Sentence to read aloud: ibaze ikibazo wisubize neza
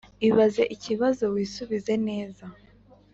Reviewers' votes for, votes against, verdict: 3, 0, accepted